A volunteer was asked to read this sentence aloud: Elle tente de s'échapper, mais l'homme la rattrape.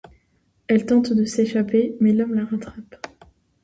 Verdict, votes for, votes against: accepted, 2, 0